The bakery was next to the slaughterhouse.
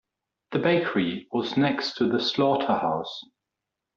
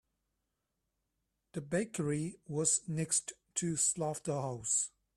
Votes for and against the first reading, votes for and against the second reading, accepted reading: 2, 0, 0, 2, first